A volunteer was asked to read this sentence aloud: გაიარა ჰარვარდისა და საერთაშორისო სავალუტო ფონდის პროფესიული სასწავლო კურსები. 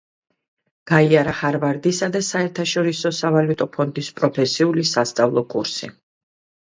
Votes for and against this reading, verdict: 2, 0, accepted